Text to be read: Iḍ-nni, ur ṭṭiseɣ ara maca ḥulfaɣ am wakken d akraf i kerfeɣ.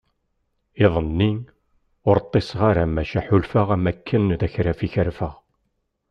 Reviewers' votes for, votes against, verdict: 2, 0, accepted